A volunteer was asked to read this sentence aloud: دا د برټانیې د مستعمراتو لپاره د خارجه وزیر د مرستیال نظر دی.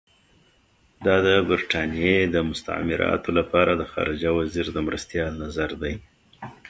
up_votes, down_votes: 2, 0